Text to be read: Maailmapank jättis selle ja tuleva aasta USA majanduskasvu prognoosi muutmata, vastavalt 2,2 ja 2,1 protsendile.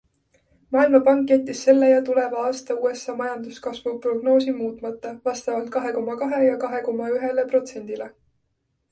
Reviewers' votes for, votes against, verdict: 0, 2, rejected